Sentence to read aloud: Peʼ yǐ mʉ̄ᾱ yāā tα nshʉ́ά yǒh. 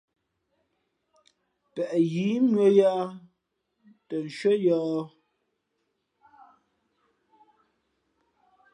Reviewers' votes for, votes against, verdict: 2, 0, accepted